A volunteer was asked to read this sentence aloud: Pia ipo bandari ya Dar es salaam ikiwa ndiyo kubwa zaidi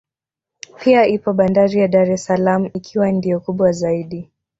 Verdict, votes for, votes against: rejected, 1, 2